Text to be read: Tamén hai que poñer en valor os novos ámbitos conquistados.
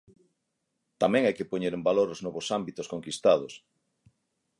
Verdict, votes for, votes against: accepted, 9, 0